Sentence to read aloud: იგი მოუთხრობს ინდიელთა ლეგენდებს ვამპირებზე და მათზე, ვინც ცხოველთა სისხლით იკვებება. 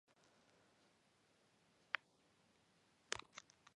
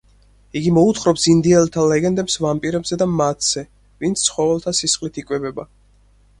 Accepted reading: second